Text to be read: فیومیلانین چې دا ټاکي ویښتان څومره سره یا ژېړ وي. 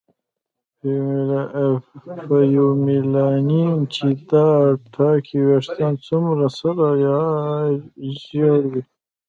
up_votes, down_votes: 0, 2